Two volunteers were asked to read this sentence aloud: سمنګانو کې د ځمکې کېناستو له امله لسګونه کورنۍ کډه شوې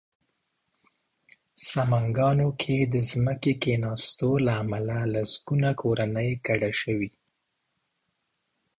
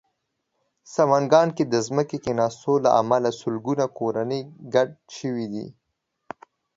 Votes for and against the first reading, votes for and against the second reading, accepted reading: 3, 0, 1, 2, first